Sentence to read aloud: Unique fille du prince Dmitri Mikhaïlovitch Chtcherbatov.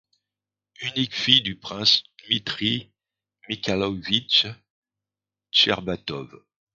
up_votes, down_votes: 1, 2